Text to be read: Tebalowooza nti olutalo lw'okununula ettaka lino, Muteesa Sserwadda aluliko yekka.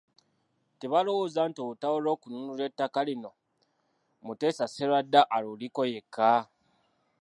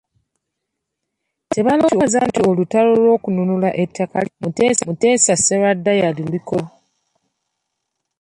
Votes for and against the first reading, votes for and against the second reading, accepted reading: 2, 1, 1, 3, first